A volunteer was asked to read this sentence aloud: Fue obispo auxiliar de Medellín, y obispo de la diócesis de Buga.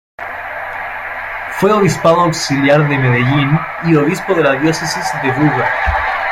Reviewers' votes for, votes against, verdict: 0, 2, rejected